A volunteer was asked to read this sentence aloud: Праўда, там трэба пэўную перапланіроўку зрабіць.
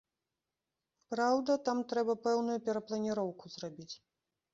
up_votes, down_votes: 2, 0